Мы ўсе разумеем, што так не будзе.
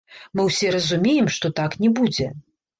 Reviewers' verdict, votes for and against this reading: rejected, 1, 2